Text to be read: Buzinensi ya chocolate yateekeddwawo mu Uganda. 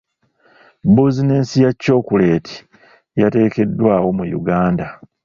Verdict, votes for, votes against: rejected, 1, 2